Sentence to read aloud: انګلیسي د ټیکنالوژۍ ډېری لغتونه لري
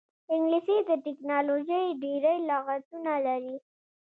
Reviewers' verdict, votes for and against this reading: rejected, 1, 2